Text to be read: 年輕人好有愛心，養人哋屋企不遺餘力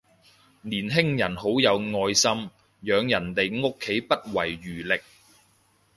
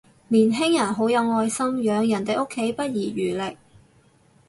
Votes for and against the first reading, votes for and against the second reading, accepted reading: 2, 0, 2, 2, first